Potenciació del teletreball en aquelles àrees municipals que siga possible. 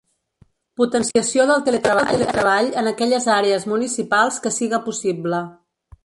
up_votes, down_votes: 1, 2